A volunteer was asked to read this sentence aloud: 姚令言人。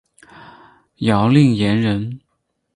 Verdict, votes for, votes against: accepted, 4, 2